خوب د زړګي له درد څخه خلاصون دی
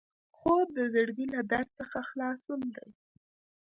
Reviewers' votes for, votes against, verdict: 2, 0, accepted